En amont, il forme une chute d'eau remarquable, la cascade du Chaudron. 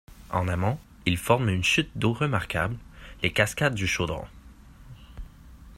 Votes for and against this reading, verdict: 1, 2, rejected